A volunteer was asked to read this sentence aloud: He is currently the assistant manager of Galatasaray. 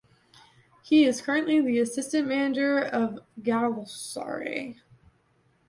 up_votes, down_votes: 1, 2